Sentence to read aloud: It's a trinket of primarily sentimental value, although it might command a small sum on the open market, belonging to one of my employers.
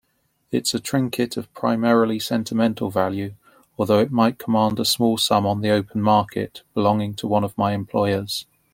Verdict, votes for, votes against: accepted, 2, 0